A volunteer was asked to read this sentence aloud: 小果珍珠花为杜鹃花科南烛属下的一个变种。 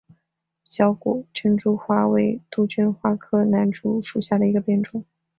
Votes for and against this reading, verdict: 4, 0, accepted